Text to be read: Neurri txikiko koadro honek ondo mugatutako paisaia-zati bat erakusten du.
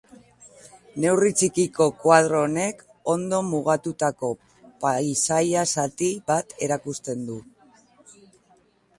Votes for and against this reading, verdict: 2, 0, accepted